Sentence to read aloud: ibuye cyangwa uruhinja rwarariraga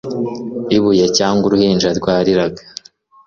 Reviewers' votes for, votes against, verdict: 3, 0, accepted